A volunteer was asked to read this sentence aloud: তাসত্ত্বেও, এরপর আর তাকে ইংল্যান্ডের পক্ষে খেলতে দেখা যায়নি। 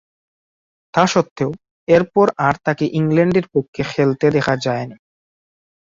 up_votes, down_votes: 12, 10